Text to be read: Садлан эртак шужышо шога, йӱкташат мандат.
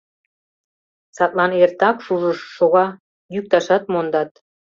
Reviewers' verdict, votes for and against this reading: rejected, 0, 2